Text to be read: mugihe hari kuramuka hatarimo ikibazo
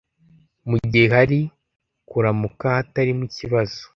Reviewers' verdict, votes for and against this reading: accepted, 2, 0